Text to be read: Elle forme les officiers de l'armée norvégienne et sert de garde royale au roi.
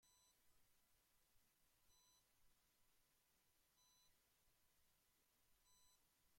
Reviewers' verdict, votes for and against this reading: rejected, 0, 2